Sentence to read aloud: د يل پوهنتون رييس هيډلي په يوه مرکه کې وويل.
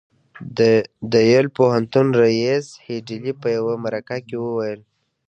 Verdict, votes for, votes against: accepted, 2, 0